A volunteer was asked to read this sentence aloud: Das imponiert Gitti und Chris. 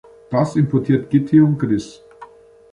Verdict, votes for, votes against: rejected, 0, 2